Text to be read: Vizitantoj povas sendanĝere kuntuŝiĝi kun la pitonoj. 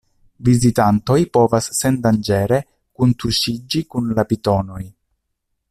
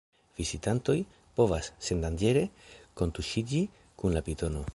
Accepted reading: first